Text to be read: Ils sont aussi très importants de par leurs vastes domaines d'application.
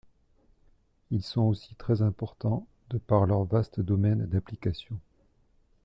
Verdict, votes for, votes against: accepted, 2, 0